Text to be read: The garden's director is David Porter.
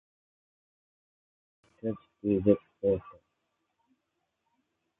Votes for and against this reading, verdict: 0, 2, rejected